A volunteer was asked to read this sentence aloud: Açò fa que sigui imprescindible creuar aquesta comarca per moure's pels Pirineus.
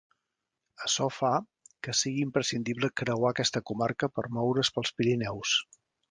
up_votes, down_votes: 2, 0